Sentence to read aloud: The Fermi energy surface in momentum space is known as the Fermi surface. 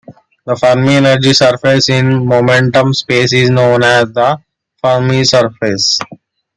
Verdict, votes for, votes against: accepted, 2, 0